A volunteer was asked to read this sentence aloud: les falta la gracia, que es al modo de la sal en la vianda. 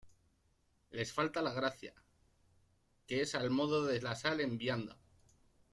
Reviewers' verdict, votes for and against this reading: rejected, 0, 2